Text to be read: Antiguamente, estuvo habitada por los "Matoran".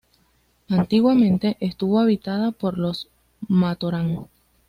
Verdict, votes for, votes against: accepted, 2, 0